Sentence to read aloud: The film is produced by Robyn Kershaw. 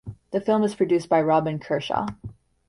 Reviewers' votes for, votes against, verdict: 2, 0, accepted